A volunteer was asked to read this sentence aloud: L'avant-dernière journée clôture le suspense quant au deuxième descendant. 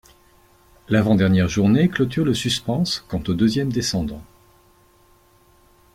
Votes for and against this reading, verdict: 1, 2, rejected